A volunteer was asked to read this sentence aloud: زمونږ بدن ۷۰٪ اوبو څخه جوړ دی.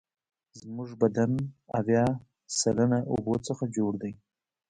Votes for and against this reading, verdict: 0, 2, rejected